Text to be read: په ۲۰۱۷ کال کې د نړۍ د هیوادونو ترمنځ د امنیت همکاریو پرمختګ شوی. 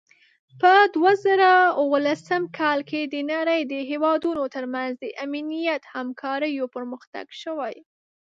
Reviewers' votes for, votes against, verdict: 0, 2, rejected